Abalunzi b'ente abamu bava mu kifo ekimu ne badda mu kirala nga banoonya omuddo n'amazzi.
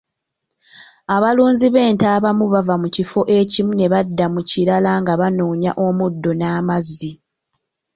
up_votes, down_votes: 2, 0